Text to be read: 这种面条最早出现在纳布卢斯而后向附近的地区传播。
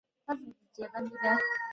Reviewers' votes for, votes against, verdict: 0, 2, rejected